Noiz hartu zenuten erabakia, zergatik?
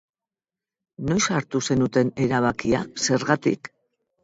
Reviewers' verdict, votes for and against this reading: accepted, 14, 0